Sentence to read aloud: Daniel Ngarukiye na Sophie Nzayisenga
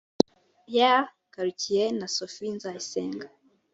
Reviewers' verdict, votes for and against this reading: rejected, 1, 2